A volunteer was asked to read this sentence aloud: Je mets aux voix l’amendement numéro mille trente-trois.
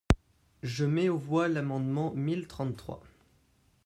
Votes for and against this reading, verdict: 0, 2, rejected